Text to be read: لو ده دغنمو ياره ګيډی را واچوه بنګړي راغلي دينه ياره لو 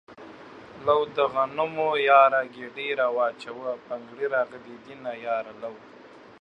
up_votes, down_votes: 2, 1